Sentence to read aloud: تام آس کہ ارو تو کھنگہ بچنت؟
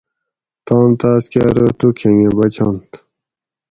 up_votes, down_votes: 2, 4